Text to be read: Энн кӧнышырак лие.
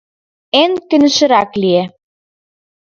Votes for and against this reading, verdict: 4, 2, accepted